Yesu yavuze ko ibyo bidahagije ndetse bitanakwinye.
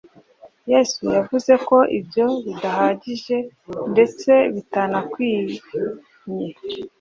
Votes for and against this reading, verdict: 2, 0, accepted